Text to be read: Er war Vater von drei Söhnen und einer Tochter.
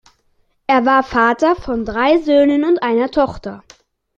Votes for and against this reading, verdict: 2, 0, accepted